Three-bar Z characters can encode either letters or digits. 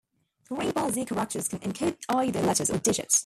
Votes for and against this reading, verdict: 0, 2, rejected